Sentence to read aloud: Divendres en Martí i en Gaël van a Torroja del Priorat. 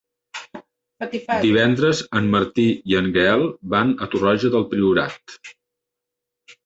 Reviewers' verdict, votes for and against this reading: rejected, 1, 2